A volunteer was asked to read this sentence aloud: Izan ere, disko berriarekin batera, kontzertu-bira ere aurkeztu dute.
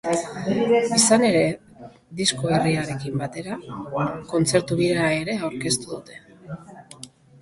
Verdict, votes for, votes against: rejected, 0, 2